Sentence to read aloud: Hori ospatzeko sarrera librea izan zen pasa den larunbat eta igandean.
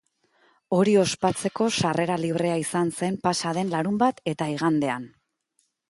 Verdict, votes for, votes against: accepted, 2, 0